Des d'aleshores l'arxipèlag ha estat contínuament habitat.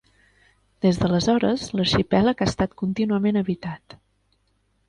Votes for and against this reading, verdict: 3, 0, accepted